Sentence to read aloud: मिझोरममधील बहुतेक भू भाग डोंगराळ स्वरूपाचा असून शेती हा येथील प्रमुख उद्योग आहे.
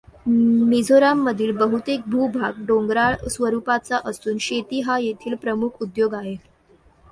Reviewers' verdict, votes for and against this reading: accepted, 2, 0